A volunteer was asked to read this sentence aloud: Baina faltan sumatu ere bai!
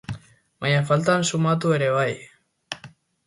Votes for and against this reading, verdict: 2, 0, accepted